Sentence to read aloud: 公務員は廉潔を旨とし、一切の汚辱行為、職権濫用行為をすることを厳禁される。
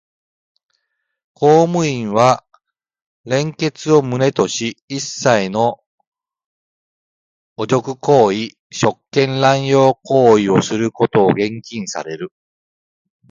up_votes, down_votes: 2, 0